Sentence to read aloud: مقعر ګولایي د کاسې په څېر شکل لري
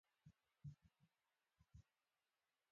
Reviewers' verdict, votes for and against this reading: accepted, 2, 1